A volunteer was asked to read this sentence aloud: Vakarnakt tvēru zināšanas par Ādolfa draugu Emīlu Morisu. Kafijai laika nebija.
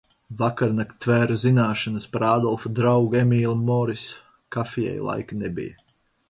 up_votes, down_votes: 4, 0